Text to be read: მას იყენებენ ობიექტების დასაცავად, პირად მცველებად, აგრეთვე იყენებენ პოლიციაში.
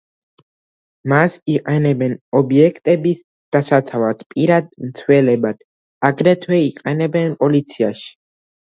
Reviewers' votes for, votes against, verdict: 2, 0, accepted